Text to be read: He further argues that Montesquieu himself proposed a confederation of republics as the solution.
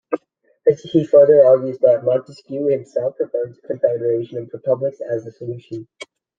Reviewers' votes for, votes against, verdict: 0, 2, rejected